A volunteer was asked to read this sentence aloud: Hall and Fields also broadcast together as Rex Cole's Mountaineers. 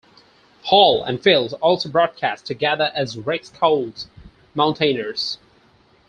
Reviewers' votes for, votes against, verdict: 2, 4, rejected